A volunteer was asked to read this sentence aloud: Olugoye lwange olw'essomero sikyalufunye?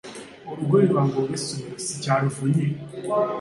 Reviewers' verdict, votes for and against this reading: accepted, 2, 0